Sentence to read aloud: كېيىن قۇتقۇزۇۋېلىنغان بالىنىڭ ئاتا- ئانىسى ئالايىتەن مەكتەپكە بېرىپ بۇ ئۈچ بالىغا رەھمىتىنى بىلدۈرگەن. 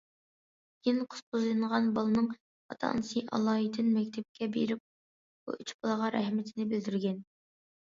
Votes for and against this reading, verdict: 2, 1, accepted